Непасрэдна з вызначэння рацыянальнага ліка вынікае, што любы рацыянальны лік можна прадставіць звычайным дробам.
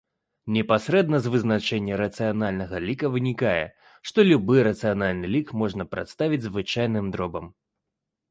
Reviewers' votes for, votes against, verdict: 2, 0, accepted